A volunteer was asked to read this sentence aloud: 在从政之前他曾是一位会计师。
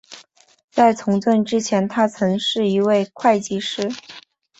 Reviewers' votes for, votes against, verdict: 3, 0, accepted